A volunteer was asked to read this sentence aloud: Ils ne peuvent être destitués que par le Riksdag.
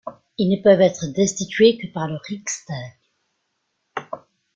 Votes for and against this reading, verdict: 2, 1, accepted